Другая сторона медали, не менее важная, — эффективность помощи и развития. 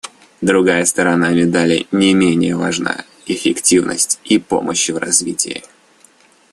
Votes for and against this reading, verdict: 1, 2, rejected